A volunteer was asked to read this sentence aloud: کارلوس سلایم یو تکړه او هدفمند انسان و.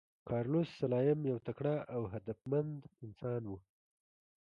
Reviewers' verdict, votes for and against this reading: accepted, 2, 0